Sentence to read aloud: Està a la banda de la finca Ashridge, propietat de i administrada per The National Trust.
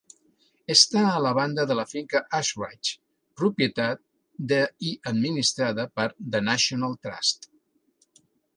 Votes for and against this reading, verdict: 3, 0, accepted